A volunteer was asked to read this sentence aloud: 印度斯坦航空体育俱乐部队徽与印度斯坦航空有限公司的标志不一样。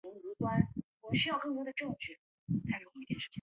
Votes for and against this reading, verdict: 0, 2, rejected